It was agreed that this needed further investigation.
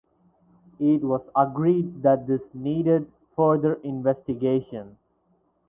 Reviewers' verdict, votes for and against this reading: accepted, 4, 0